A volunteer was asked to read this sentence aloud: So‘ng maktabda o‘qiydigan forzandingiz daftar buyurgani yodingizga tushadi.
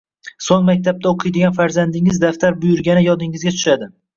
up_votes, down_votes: 1, 2